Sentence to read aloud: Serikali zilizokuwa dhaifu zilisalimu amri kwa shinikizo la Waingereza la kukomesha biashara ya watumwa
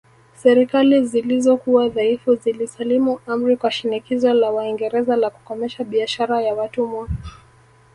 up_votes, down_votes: 2, 0